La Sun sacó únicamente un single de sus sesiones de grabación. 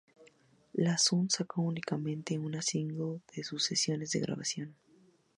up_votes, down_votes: 0, 2